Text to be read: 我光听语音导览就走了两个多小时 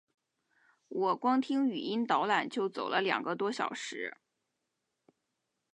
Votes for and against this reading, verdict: 2, 0, accepted